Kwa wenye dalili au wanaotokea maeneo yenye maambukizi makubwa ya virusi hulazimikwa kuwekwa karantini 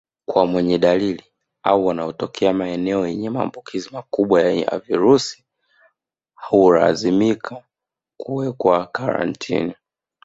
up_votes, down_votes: 0, 2